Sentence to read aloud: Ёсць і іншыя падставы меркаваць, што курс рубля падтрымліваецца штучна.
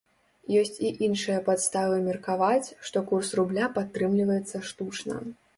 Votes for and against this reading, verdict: 2, 0, accepted